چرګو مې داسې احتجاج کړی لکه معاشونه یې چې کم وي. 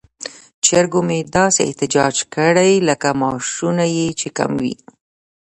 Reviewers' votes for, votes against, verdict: 2, 0, accepted